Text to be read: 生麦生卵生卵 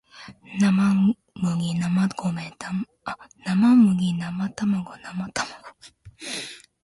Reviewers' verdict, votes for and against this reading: rejected, 1, 2